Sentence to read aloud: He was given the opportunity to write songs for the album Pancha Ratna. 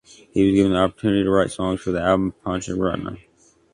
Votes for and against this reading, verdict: 1, 2, rejected